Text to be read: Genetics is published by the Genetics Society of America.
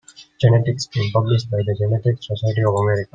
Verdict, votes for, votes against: rejected, 1, 2